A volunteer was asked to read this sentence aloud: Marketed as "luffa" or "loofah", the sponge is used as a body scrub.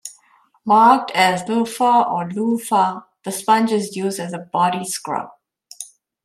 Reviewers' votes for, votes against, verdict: 0, 2, rejected